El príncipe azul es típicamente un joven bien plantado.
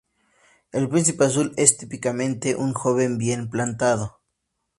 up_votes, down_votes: 2, 0